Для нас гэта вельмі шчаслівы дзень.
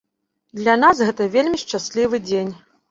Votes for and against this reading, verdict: 2, 0, accepted